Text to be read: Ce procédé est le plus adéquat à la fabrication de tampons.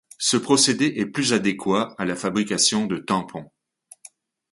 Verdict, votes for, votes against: accepted, 2, 1